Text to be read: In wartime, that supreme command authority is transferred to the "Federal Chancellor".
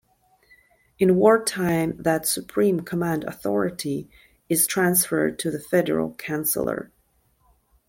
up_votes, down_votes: 1, 3